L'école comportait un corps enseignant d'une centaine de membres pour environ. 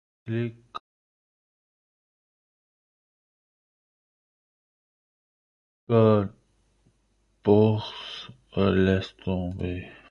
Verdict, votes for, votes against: rejected, 0, 2